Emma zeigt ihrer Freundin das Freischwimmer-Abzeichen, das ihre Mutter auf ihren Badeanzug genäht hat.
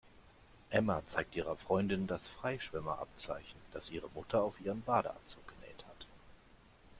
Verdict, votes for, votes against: accepted, 3, 0